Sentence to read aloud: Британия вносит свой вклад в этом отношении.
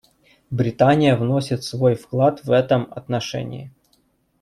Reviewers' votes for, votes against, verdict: 2, 0, accepted